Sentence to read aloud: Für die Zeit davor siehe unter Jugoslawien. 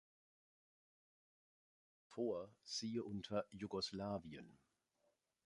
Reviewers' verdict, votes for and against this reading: rejected, 1, 3